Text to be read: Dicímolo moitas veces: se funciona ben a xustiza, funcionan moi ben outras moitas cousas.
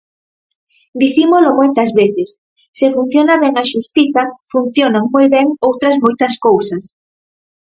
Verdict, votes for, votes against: accepted, 4, 0